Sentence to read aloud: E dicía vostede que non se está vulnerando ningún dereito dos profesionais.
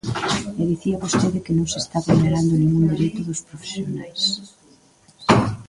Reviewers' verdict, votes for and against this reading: rejected, 0, 2